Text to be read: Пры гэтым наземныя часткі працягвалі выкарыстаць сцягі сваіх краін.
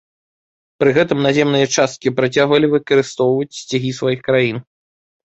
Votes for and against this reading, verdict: 2, 0, accepted